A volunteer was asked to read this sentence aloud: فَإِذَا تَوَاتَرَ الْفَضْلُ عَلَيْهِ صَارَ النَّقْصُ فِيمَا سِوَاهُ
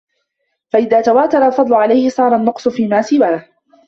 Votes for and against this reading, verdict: 2, 0, accepted